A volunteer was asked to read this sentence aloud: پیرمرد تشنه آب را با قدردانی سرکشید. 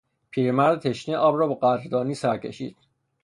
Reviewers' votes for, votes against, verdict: 0, 3, rejected